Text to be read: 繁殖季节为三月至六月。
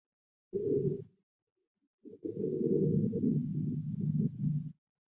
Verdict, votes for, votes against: rejected, 1, 3